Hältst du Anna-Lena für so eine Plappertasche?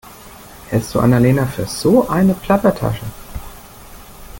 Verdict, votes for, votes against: accepted, 2, 0